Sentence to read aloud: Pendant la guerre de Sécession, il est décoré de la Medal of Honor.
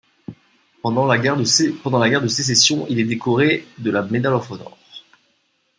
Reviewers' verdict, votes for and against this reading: rejected, 0, 2